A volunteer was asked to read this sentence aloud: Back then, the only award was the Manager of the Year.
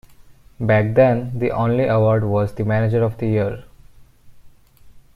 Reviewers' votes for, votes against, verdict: 2, 0, accepted